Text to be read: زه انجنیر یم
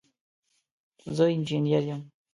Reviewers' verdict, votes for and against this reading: accepted, 2, 0